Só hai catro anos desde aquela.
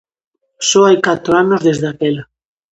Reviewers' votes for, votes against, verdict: 2, 0, accepted